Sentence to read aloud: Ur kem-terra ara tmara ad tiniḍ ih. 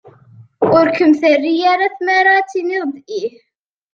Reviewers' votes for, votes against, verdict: 2, 0, accepted